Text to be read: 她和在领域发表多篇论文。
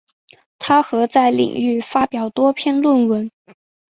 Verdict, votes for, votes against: accepted, 2, 0